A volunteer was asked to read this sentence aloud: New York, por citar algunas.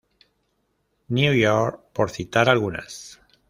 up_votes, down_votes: 2, 0